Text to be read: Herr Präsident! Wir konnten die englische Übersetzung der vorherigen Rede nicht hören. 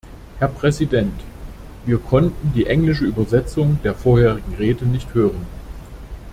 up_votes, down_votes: 2, 0